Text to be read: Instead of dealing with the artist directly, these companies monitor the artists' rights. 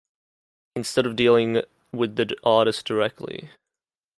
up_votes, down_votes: 0, 2